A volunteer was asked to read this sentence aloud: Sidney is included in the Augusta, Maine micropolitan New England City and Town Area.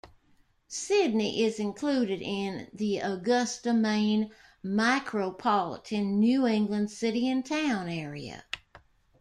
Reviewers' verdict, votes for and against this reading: rejected, 0, 2